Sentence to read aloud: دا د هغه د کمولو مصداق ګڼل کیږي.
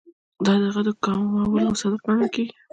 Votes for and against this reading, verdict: 2, 1, accepted